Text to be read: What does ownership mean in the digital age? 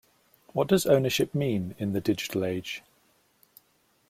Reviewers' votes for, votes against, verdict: 2, 0, accepted